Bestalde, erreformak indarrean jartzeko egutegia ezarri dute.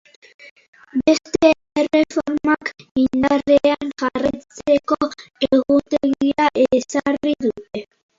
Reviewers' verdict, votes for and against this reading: rejected, 0, 4